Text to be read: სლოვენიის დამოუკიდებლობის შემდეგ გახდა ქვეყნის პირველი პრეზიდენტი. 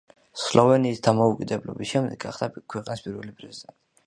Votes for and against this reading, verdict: 2, 0, accepted